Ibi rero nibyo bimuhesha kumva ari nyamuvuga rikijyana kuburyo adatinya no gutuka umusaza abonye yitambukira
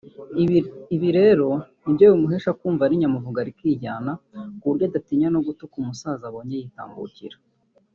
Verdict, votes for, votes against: rejected, 1, 2